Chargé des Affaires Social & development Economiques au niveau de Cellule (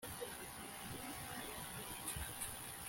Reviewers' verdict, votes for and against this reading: rejected, 0, 2